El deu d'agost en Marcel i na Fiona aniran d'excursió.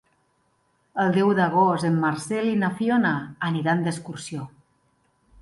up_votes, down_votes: 2, 0